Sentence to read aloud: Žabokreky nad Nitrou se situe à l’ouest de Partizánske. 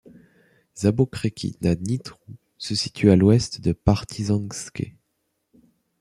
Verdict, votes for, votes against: accepted, 2, 1